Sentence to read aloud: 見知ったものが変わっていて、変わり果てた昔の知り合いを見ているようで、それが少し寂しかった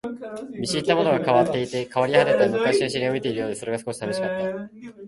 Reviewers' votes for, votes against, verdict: 1, 2, rejected